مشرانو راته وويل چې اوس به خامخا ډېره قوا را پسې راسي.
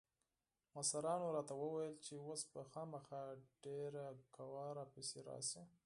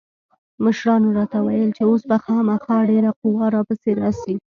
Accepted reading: first